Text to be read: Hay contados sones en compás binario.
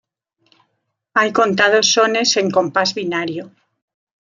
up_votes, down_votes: 2, 1